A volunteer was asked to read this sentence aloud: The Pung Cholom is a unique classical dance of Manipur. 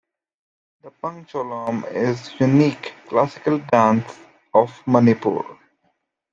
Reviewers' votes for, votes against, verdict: 0, 2, rejected